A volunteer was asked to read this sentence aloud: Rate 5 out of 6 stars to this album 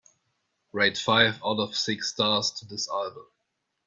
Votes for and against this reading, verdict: 0, 2, rejected